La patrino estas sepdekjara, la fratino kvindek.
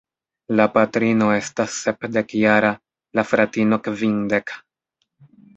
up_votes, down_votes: 1, 2